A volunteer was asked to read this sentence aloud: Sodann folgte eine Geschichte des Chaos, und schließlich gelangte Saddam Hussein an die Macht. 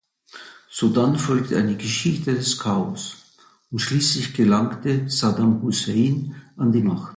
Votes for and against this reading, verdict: 2, 0, accepted